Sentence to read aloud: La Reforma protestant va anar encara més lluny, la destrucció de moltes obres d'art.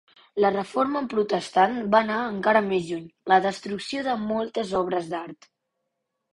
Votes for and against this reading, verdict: 4, 0, accepted